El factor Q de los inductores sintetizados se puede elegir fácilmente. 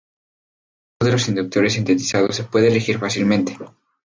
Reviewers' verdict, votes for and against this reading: rejected, 0, 2